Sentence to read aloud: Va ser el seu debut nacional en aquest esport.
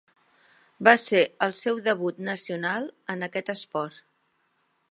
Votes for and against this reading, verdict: 2, 0, accepted